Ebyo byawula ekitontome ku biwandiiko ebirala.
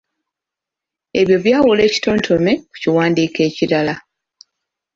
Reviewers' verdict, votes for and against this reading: rejected, 0, 2